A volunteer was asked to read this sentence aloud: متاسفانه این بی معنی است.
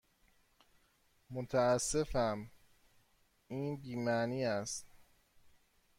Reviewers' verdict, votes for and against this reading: rejected, 1, 2